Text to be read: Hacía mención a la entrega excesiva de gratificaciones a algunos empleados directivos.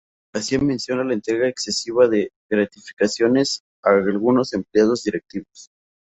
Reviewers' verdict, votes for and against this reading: rejected, 0, 2